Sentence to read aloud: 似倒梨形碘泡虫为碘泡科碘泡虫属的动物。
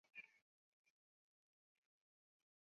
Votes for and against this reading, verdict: 0, 2, rejected